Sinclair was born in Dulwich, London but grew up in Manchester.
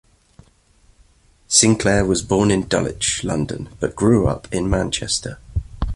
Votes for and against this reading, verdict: 2, 0, accepted